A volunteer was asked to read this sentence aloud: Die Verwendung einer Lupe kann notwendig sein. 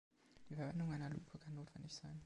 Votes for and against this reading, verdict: 1, 2, rejected